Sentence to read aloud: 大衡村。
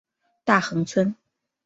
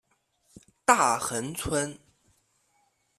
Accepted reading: second